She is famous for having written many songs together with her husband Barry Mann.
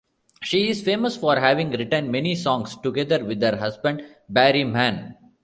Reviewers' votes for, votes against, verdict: 2, 0, accepted